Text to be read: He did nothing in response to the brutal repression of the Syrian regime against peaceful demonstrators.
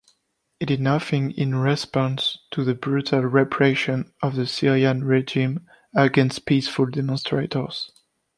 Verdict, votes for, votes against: rejected, 0, 2